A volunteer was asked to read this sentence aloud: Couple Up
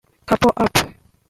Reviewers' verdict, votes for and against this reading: rejected, 0, 2